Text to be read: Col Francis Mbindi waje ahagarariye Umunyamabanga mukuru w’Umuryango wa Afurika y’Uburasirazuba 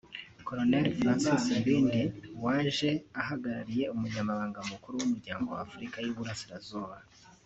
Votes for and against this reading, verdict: 2, 0, accepted